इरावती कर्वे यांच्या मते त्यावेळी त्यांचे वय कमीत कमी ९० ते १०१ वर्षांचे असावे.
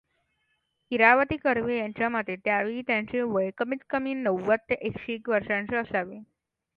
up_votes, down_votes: 0, 2